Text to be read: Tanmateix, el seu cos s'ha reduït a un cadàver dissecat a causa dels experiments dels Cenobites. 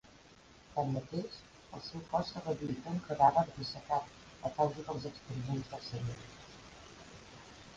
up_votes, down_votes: 0, 2